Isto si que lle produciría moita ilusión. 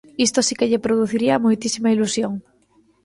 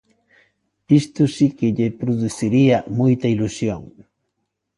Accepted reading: second